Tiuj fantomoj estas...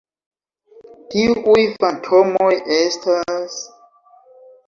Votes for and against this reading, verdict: 0, 2, rejected